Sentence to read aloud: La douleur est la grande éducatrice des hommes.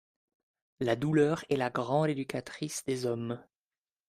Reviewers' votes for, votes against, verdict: 3, 0, accepted